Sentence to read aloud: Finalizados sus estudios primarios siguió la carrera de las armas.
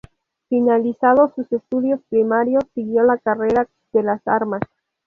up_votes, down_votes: 2, 0